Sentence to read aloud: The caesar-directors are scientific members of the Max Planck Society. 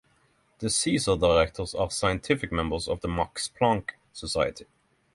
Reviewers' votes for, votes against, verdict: 3, 0, accepted